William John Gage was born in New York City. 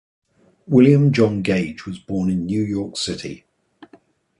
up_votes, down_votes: 2, 0